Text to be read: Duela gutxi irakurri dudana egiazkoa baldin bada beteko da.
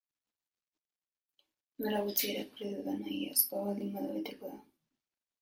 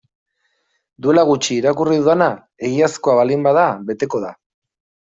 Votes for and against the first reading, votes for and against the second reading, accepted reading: 0, 2, 2, 1, second